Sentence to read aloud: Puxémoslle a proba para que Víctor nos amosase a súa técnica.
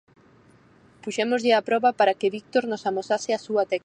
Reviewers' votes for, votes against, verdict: 0, 4, rejected